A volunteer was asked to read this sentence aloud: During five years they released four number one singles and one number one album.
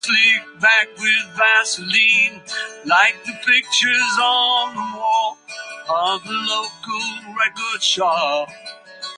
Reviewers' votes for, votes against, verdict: 0, 2, rejected